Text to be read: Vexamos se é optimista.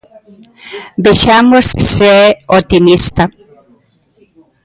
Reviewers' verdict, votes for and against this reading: accepted, 2, 0